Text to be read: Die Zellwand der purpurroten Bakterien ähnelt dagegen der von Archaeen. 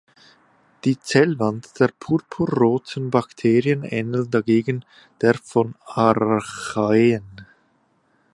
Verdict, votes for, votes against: rejected, 0, 2